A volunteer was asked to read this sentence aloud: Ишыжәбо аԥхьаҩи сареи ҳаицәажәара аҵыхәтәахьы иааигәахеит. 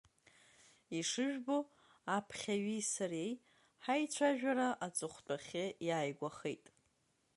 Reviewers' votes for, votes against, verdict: 2, 0, accepted